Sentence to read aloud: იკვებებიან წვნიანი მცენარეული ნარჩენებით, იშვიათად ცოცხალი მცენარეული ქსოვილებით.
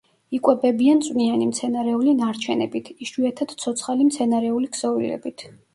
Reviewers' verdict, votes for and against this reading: rejected, 1, 2